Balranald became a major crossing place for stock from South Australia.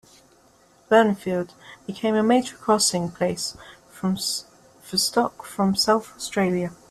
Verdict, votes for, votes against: rejected, 0, 2